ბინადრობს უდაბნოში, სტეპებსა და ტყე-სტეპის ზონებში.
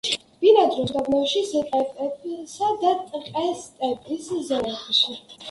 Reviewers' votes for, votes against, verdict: 1, 2, rejected